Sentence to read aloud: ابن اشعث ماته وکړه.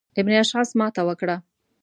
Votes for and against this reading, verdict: 2, 0, accepted